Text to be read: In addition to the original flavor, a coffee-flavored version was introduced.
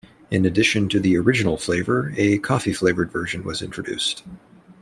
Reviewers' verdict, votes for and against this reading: accepted, 2, 0